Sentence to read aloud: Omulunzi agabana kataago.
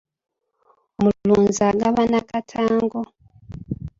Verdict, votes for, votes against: rejected, 1, 2